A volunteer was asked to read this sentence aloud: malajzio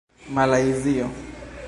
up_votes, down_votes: 2, 0